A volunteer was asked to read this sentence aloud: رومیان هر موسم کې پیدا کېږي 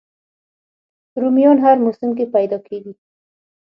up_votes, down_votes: 3, 6